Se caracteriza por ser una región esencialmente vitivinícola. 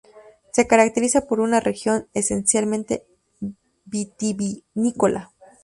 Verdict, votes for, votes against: rejected, 0, 2